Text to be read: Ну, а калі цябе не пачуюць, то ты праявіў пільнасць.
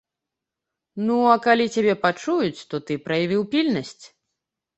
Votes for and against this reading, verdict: 1, 2, rejected